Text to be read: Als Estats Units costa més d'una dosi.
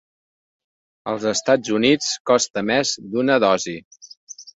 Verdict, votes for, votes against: accepted, 2, 0